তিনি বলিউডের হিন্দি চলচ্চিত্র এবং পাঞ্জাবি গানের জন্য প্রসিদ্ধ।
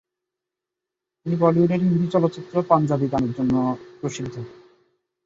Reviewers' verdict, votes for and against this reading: rejected, 0, 2